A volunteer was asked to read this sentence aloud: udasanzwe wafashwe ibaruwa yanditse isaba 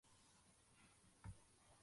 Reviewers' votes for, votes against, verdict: 0, 2, rejected